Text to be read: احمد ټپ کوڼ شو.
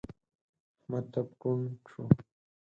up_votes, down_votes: 4, 0